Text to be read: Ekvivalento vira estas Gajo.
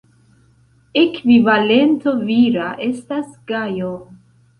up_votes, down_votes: 2, 0